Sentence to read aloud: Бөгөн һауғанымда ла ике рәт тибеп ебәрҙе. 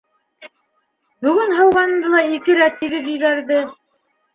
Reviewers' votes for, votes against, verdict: 1, 2, rejected